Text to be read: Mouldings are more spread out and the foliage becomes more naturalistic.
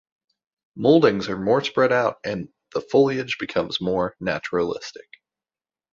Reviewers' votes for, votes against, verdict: 2, 0, accepted